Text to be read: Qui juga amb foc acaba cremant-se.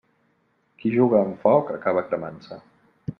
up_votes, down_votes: 3, 0